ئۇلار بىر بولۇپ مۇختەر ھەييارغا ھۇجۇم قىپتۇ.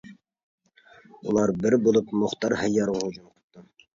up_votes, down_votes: 0, 2